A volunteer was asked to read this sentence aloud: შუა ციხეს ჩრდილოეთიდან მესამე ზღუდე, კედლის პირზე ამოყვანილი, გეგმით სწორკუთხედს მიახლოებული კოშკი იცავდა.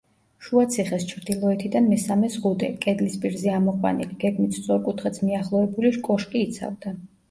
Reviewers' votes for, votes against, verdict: 1, 2, rejected